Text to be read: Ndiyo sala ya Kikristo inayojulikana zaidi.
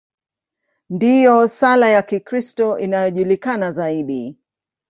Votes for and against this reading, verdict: 2, 0, accepted